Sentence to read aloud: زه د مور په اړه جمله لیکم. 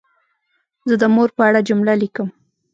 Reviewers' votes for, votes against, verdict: 1, 2, rejected